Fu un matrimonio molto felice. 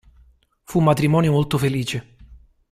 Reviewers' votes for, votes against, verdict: 2, 0, accepted